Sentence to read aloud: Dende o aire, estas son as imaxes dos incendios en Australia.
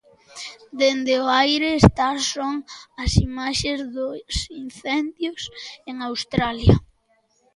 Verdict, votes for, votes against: rejected, 0, 2